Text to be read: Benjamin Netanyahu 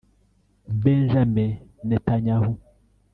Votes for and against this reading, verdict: 0, 2, rejected